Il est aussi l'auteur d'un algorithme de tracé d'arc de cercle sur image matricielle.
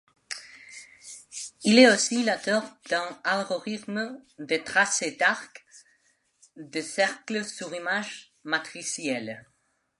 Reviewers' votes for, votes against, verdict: 1, 2, rejected